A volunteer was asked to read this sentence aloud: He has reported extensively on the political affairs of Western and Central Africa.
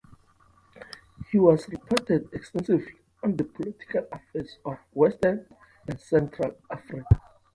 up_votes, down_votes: 0, 2